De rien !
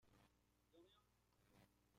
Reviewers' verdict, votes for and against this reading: rejected, 0, 2